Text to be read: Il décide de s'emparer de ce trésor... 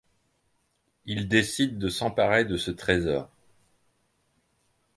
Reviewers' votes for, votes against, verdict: 2, 0, accepted